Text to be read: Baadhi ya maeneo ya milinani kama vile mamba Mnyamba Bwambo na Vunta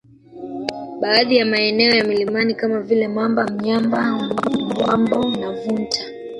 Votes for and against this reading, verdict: 1, 2, rejected